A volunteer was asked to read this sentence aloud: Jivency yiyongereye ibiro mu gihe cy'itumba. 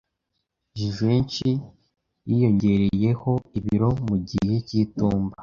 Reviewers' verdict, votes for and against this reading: rejected, 0, 2